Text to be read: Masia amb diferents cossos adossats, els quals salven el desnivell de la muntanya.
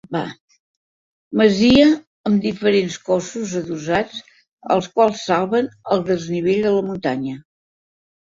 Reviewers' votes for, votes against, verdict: 1, 2, rejected